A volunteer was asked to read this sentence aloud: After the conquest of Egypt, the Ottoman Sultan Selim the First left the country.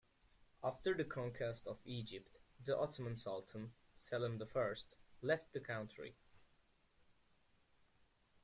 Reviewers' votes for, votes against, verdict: 2, 1, accepted